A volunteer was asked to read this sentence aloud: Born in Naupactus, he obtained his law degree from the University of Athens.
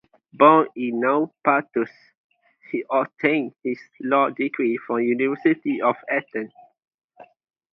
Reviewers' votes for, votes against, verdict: 2, 2, rejected